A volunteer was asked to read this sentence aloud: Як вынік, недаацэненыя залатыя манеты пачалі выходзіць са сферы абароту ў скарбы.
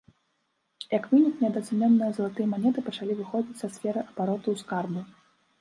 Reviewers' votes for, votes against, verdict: 1, 2, rejected